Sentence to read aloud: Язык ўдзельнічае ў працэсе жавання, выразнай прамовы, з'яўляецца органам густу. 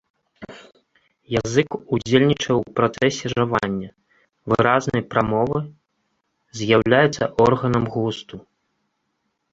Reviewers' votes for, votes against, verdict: 1, 2, rejected